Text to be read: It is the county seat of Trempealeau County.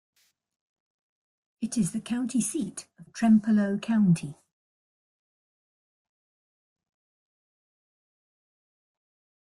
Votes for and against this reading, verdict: 1, 2, rejected